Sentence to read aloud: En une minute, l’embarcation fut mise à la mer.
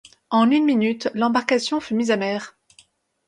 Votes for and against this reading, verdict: 0, 2, rejected